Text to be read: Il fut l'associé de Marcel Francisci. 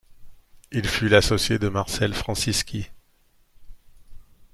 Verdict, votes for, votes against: accepted, 2, 0